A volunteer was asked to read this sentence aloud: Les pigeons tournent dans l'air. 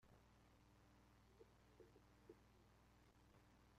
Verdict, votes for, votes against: rejected, 0, 2